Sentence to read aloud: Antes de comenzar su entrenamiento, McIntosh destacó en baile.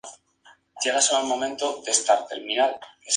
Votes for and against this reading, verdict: 0, 2, rejected